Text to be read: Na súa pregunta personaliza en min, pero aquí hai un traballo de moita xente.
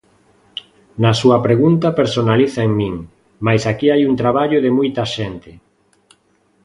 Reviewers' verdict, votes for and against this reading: rejected, 0, 2